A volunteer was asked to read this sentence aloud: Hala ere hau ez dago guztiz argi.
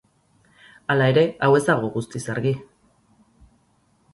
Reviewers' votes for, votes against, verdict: 2, 0, accepted